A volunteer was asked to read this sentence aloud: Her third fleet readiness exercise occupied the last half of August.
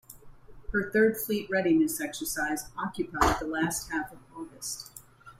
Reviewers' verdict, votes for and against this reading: rejected, 0, 2